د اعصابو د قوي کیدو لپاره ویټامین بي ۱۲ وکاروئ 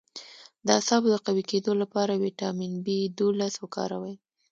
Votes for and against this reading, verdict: 0, 2, rejected